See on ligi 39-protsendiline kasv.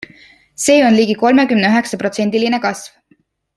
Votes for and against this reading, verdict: 0, 2, rejected